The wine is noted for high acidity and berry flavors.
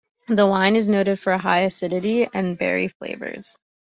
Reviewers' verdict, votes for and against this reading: accepted, 3, 1